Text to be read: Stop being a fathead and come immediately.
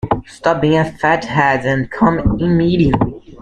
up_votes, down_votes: 2, 1